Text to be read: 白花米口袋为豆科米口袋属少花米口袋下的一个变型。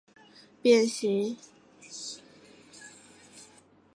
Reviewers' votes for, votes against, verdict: 2, 1, accepted